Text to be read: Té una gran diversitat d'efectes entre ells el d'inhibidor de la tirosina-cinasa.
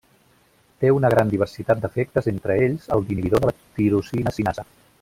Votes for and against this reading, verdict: 0, 2, rejected